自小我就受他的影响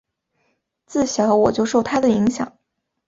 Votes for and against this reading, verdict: 4, 0, accepted